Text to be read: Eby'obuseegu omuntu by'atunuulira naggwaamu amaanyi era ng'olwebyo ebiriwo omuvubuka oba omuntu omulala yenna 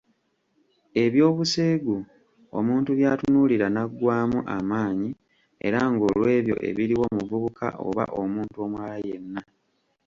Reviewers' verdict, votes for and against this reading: accepted, 2, 0